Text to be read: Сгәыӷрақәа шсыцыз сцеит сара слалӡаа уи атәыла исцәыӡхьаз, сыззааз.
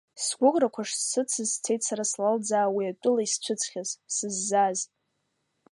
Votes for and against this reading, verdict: 1, 2, rejected